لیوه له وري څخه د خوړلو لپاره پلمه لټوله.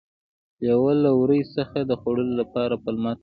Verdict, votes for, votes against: rejected, 1, 2